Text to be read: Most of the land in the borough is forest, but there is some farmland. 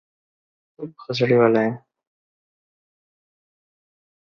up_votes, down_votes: 0, 2